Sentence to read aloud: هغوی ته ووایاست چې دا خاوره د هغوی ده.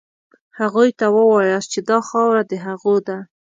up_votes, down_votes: 1, 2